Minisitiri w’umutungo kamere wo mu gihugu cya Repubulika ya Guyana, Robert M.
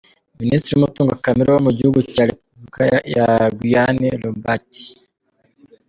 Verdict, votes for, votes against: rejected, 1, 3